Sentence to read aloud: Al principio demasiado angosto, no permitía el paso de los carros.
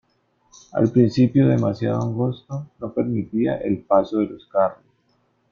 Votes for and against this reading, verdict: 2, 0, accepted